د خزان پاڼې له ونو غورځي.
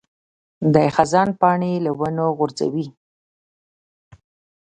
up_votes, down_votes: 1, 2